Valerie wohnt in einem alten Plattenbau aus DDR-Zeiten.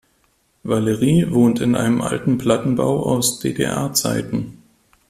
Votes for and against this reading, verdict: 2, 0, accepted